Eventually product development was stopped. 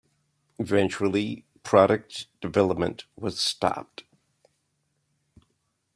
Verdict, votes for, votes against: accepted, 2, 0